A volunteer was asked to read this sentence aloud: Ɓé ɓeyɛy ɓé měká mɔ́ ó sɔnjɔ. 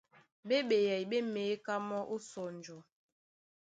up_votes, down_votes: 2, 0